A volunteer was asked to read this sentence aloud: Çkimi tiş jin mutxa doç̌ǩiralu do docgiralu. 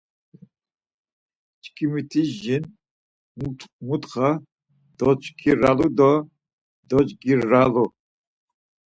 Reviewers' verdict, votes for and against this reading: rejected, 2, 4